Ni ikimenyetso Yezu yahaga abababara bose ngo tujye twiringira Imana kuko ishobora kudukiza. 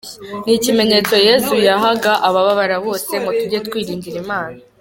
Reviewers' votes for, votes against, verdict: 0, 2, rejected